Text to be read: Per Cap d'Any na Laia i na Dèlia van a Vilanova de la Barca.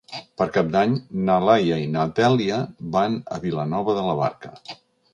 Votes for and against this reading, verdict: 2, 0, accepted